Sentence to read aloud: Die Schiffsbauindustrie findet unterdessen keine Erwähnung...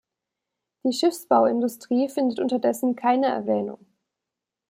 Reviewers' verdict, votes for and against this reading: accepted, 2, 0